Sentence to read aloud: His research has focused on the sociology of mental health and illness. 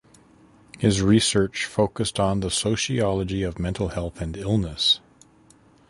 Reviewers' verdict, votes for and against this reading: rejected, 1, 2